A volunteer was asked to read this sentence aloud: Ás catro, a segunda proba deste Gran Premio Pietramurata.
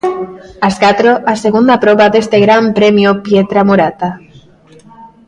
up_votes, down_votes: 2, 0